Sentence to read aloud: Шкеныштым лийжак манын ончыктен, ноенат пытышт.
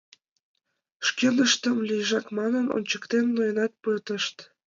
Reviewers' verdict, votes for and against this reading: accepted, 2, 0